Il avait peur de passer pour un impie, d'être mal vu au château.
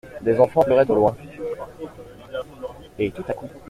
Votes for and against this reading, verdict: 0, 2, rejected